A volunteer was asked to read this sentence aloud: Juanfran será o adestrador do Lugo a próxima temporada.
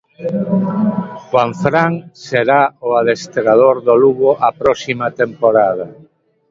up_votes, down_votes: 3, 0